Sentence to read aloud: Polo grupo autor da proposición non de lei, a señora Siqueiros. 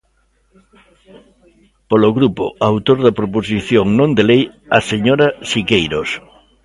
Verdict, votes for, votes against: rejected, 1, 2